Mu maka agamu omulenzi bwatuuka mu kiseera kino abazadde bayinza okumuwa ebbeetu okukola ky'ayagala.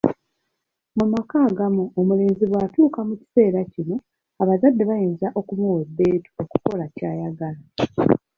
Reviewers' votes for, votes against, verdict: 0, 2, rejected